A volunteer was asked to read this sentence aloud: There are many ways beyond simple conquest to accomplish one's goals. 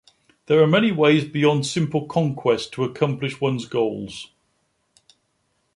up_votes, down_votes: 2, 0